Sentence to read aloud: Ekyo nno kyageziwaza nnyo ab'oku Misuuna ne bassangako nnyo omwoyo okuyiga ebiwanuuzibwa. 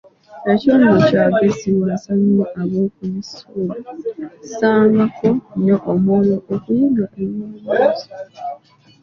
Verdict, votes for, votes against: rejected, 1, 2